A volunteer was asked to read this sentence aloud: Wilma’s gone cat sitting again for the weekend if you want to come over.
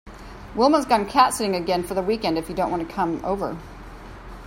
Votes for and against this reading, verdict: 1, 2, rejected